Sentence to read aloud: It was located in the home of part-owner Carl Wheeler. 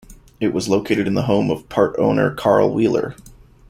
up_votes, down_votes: 2, 0